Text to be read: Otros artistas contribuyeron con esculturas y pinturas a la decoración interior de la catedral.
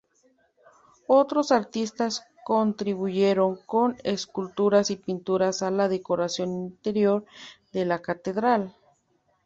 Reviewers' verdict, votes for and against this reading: accepted, 2, 0